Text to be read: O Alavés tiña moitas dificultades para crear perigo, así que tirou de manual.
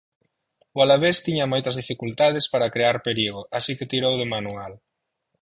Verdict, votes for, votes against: accepted, 4, 0